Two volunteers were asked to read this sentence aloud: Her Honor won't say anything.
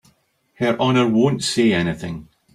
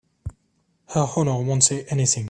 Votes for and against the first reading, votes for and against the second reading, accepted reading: 3, 0, 0, 3, first